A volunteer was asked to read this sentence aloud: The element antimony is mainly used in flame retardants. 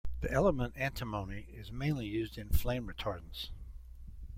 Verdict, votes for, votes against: accepted, 2, 1